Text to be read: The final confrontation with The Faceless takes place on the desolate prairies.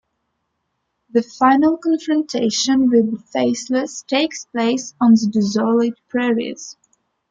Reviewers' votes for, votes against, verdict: 2, 1, accepted